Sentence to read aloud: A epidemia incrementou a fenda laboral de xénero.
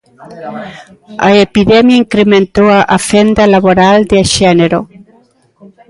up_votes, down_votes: 1, 2